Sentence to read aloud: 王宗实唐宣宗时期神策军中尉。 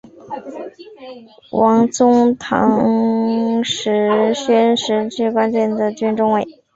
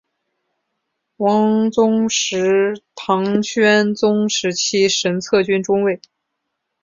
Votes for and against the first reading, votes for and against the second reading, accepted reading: 1, 2, 4, 0, second